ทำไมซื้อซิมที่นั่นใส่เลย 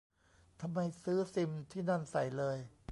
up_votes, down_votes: 2, 0